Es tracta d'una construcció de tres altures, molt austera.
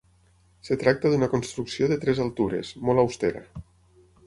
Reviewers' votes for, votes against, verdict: 3, 6, rejected